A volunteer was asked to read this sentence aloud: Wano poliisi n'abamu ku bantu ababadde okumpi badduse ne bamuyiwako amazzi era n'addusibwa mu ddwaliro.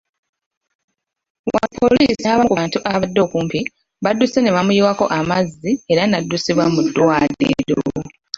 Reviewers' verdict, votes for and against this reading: rejected, 0, 2